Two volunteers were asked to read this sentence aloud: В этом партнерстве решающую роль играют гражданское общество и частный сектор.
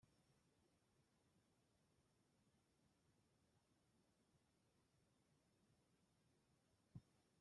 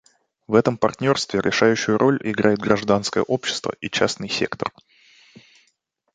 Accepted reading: second